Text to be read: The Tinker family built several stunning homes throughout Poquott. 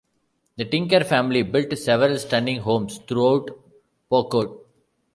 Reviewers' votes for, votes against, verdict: 2, 0, accepted